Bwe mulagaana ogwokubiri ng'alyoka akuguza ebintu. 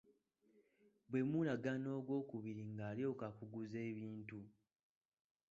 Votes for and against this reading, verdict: 1, 2, rejected